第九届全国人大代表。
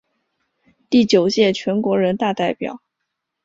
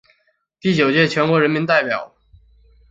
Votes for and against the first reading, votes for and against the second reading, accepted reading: 2, 0, 0, 2, first